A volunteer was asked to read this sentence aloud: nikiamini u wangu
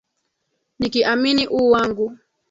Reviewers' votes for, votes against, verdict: 2, 0, accepted